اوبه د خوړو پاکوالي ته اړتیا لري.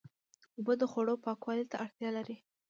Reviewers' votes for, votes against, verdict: 1, 2, rejected